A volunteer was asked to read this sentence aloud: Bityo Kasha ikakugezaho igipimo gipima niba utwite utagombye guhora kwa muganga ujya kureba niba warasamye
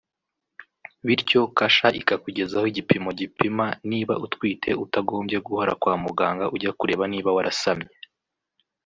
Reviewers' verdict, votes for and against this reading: accepted, 3, 0